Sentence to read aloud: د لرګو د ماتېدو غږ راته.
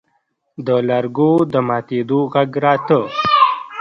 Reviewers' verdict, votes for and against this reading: rejected, 0, 2